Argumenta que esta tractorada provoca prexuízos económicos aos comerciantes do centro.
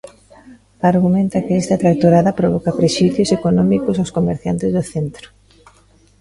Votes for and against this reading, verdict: 2, 0, accepted